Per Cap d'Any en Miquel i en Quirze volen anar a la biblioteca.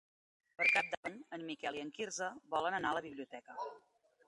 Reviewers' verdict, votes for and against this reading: accepted, 2, 0